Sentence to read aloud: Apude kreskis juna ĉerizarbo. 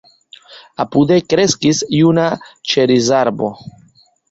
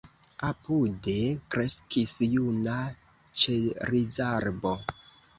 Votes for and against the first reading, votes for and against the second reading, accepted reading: 1, 2, 2, 0, second